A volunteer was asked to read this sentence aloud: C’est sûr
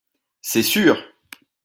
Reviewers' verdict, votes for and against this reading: accepted, 2, 0